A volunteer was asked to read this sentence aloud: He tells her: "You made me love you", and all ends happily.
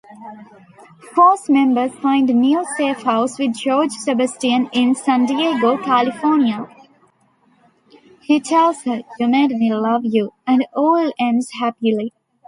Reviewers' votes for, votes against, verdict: 0, 2, rejected